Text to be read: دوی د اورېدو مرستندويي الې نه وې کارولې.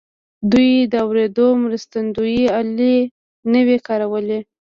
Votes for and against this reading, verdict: 2, 0, accepted